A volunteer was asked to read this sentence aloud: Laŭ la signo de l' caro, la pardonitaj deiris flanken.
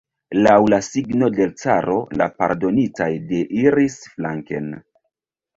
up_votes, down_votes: 0, 2